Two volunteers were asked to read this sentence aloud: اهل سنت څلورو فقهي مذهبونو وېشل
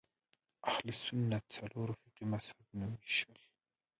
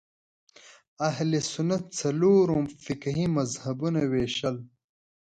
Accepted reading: second